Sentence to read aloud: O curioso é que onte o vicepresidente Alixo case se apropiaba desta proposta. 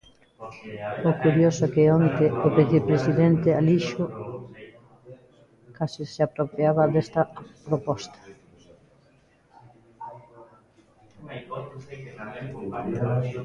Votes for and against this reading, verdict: 1, 2, rejected